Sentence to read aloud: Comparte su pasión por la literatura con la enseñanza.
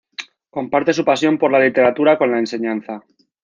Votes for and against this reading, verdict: 3, 0, accepted